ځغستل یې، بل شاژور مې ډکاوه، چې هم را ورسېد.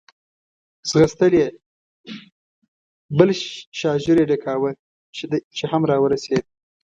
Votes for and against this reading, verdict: 1, 2, rejected